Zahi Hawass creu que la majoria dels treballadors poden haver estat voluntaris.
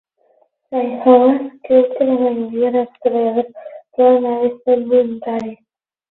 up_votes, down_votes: 6, 12